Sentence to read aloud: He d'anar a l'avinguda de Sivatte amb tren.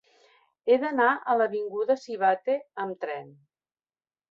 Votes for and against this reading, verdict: 0, 2, rejected